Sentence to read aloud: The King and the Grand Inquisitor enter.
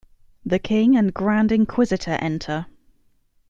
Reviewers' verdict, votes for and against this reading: rejected, 0, 2